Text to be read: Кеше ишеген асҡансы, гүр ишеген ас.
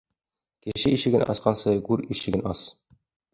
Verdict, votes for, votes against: accepted, 2, 0